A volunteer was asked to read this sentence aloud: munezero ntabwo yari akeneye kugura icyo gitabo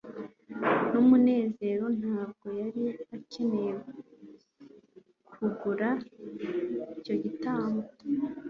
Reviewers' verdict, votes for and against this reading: rejected, 1, 2